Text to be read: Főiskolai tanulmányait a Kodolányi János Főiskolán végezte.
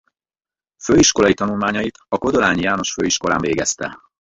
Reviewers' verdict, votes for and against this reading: rejected, 2, 4